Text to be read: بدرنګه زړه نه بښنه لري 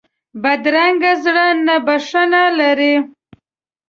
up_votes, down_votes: 2, 0